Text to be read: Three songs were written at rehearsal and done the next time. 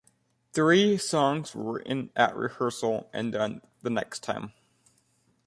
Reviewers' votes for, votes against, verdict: 2, 0, accepted